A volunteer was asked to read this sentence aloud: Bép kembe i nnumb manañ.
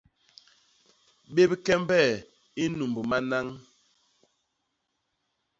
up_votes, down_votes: 0, 2